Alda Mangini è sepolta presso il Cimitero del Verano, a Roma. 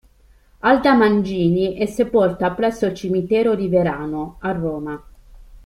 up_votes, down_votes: 0, 2